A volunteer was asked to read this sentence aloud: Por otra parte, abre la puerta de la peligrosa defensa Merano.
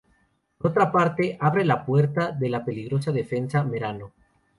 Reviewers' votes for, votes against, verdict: 2, 0, accepted